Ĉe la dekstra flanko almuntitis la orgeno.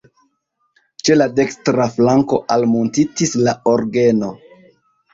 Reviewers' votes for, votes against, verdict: 2, 0, accepted